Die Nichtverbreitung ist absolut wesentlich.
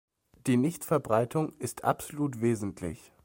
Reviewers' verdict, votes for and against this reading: accepted, 2, 0